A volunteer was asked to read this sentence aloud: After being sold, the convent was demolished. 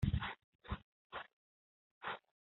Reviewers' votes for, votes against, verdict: 0, 2, rejected